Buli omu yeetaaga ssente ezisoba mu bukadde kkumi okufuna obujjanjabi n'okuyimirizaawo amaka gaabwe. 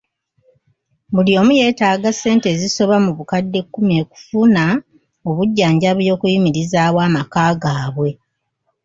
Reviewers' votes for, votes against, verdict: 2, 1, accepted